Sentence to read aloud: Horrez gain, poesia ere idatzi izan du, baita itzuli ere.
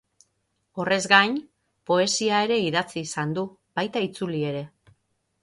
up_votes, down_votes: 6, 0